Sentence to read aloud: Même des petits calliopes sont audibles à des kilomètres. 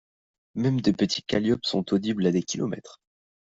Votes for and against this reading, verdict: 2, 0, accepted